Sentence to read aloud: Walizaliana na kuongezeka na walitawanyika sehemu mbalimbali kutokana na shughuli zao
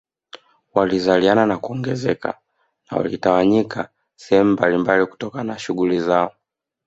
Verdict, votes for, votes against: rejected, 1, 2